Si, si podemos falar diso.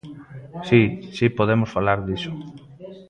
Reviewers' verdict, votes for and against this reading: rejected, 0, 2